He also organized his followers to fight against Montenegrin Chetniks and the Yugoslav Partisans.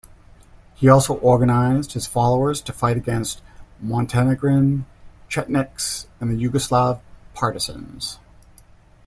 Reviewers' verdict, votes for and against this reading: rejected, 1, 2